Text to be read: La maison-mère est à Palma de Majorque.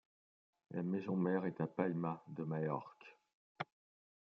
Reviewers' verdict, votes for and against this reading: accepted, 2, 0